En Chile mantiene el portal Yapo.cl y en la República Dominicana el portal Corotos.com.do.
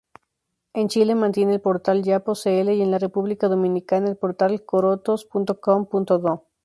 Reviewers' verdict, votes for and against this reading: accepted, 2, 0